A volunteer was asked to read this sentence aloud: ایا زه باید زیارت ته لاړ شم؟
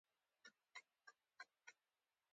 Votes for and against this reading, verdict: 3, 2, accepted